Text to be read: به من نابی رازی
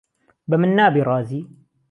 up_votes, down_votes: 2, 0